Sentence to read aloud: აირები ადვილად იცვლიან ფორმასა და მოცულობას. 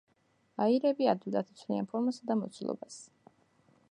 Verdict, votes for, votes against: accepted, 2, 0